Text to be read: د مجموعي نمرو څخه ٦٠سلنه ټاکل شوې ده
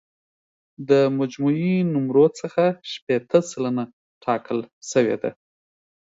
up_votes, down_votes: 0, 2